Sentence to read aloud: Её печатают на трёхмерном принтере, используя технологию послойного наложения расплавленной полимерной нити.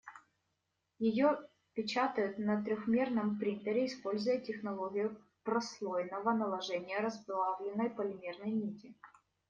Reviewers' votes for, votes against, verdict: 0, 2, rejected